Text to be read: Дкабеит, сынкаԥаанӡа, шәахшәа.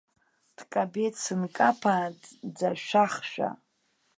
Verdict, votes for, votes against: rejected, 0, 2